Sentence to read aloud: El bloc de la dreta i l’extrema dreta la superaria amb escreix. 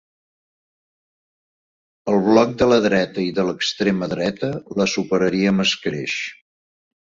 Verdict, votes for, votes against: rejected, 0, 2